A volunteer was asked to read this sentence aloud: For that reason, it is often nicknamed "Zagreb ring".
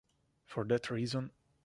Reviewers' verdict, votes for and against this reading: rejected, 0, 2